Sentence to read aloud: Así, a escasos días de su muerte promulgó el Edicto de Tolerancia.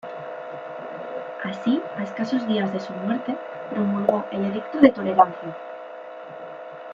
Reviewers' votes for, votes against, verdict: 2, 1, accepted